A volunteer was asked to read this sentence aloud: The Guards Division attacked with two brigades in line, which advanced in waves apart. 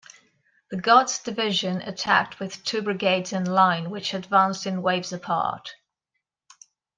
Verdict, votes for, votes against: accepted, 2, 0